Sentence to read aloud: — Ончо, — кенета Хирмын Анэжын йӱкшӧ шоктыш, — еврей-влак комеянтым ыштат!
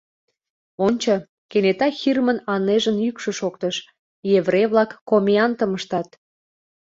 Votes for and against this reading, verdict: 2, 0, accepted